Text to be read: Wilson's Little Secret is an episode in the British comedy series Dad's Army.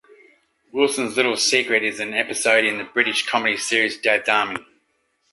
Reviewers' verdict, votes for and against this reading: accepted, 2, 1